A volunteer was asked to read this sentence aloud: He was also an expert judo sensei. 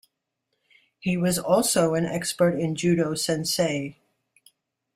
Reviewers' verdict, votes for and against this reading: rejected, 1, 2